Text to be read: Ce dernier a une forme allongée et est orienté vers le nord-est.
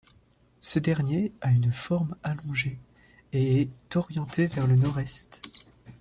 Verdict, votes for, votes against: rejected, 1, 2